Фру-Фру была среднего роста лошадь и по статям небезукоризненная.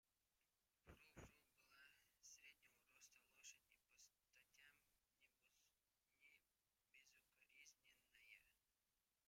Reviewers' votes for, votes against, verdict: 0, 2, rejected